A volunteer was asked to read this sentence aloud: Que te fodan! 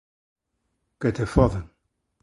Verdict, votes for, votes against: accepted, 2, 0